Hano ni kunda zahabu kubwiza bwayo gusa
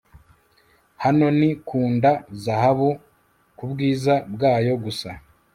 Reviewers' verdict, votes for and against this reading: accepted, 2, 0